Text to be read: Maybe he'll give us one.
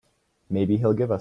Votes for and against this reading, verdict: 0, 2, rejected